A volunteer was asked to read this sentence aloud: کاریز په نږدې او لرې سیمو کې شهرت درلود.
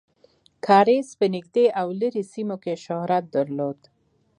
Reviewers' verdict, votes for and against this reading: accepted, 2, 0